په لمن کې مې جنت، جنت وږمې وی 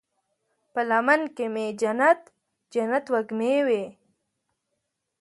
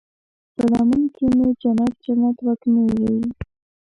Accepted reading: first